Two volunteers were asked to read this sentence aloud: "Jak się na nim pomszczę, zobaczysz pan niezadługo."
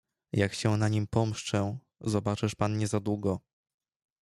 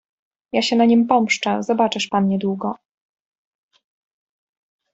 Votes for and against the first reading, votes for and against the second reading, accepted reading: 2, 0, 0, 2, first